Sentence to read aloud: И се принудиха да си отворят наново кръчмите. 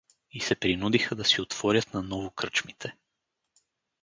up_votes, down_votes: 4, 0